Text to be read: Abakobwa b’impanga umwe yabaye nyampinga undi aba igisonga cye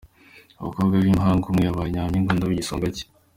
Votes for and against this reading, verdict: 2, 0, accepted